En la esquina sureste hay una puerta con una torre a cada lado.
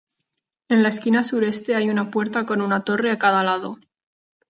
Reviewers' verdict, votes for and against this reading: accepted, 2, 0